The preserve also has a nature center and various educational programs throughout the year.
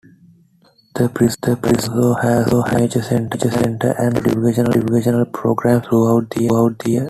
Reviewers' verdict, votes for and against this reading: rejected, 0, 2